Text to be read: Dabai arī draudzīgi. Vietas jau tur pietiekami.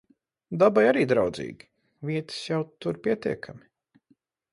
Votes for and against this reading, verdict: 4, 0, accepted